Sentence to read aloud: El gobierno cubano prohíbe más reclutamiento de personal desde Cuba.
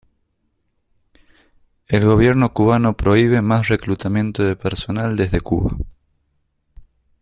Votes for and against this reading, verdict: 2, 0, accepted